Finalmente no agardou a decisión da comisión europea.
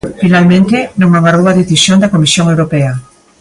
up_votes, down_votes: 1, 2